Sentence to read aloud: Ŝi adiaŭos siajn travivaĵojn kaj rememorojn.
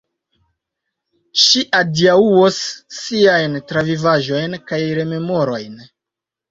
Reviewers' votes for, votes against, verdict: 2, 0, accepted